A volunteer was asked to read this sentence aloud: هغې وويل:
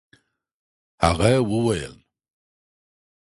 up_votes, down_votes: 0, 2